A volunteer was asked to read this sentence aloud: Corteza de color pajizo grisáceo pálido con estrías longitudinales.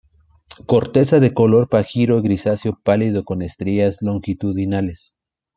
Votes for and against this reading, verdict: 0, 2, rejected